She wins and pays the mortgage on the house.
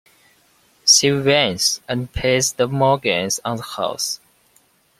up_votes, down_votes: 2, 0